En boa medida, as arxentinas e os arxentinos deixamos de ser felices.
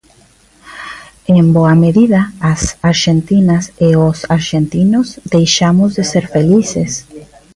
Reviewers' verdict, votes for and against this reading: rejected, 1, 2